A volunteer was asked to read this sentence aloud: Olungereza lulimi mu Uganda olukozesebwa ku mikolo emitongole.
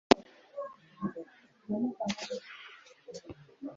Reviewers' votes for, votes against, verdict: 1, 2, rejected